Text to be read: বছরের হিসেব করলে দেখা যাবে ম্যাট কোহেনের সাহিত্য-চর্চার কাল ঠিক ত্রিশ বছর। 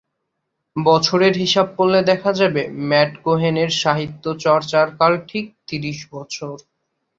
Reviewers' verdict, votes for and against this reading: accepted, 10, 1